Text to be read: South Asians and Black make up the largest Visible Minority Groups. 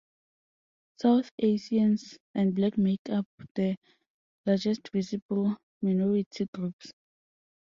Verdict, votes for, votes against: accepted, 2, 0